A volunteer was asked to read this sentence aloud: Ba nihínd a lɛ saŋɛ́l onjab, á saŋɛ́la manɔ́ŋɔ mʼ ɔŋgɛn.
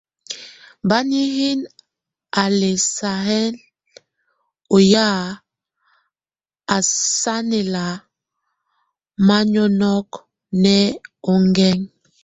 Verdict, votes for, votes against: rejected, 0, 2